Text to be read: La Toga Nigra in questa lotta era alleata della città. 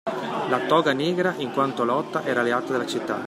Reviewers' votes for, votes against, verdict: 1, 2, rejected